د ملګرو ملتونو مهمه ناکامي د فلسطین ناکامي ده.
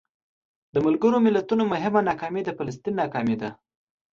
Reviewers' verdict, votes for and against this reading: accepted, 2, 0